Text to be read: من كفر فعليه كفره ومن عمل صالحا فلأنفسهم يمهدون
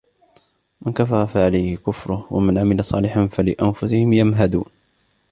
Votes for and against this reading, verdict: 2, 0, accepted